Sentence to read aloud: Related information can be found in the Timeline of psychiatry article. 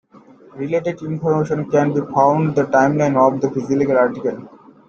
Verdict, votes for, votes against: rejected, 0, 2